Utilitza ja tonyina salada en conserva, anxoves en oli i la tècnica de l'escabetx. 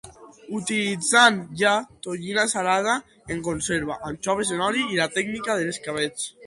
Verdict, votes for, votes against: rejected, 0, 2